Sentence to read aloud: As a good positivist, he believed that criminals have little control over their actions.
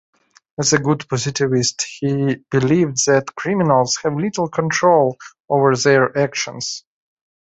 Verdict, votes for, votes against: accepted, 2, 0